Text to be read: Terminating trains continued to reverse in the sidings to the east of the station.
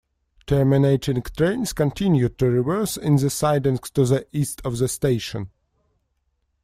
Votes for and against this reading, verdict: 2, 0, accepted